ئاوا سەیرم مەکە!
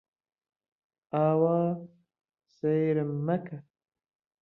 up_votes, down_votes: 0, 2